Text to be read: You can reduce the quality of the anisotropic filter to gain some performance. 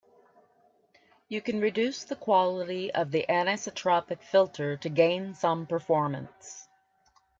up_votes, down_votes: 2, 0